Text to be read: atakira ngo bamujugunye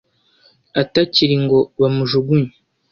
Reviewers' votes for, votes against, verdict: 1, 2, rejected